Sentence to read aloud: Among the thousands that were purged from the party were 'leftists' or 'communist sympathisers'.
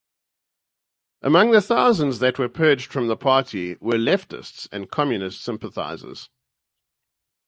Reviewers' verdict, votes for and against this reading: rejected, 0, 4